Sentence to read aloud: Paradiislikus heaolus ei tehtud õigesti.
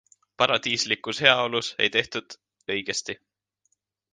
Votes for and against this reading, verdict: 2, 1, accepted